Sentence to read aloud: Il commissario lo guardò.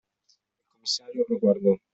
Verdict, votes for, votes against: rejected, 0, 2